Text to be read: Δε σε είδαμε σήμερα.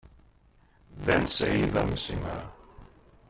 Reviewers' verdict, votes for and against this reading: rejected, 1, 2